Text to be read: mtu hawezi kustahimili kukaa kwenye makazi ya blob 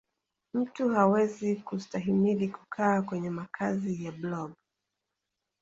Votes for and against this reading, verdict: 1, 2, rejected